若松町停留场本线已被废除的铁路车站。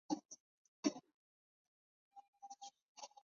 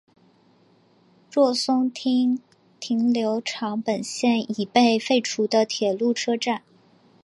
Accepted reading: second